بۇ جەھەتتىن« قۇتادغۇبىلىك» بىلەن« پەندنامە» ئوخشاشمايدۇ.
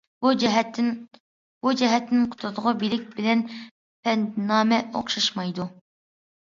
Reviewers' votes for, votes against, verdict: 0, 2, rejected